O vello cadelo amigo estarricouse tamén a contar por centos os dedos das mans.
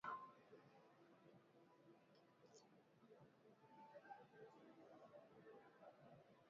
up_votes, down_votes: 0, 2